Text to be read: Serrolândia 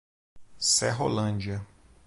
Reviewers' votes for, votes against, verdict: 2, 0, accepted